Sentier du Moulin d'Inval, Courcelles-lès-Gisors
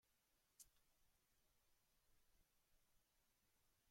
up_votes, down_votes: 0, 2